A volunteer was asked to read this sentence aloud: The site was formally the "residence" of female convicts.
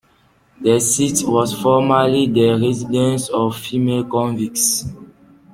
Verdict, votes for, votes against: rejected, 0, 2